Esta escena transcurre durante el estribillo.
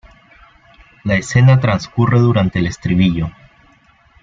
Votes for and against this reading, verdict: 0, 2, rejected